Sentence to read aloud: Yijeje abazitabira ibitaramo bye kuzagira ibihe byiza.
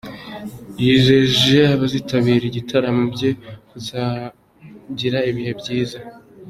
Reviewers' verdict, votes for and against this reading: accepted, 2, 0